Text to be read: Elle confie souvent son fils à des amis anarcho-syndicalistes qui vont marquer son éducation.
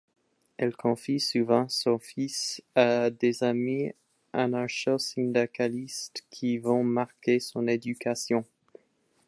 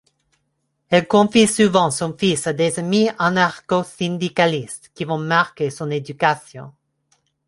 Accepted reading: second